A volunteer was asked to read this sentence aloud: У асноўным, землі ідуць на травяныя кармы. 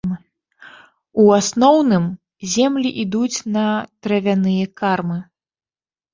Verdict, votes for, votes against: rejected, 0, 2